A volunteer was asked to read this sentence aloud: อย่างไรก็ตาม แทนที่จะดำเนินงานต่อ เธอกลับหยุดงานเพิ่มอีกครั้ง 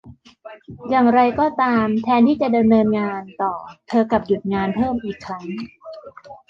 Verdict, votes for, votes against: accepted, 2, 0